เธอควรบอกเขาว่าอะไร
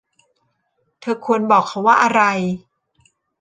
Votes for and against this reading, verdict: 2, 0, accepted